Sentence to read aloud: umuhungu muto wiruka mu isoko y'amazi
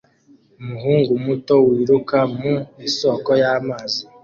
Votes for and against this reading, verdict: 2, 0, accepted